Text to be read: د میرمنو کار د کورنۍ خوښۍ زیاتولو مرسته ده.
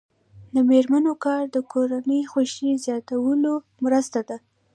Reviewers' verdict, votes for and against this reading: accepted, 2, 1